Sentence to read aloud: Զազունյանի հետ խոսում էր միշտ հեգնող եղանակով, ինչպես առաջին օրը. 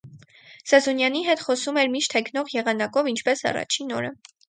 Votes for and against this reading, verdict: 4, 0, accepted